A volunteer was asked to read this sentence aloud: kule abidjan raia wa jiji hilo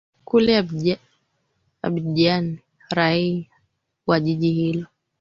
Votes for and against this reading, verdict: 2, 4, rejected